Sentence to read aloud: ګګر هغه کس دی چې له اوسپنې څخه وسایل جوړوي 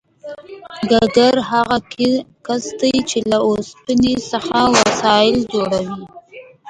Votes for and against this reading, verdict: 1, 2, rejected